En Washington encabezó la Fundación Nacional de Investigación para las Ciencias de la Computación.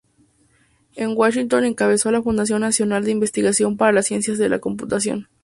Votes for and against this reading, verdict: 2, 0, accepted